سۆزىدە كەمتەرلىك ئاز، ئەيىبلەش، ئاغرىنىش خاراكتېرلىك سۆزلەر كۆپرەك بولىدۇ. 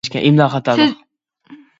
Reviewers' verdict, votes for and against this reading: rejected, 0, 2